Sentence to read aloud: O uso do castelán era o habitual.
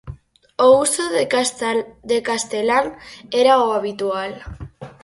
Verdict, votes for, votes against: rejected, 0, 4